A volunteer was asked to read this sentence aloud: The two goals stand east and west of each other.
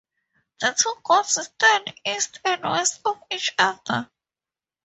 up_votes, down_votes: 2, 0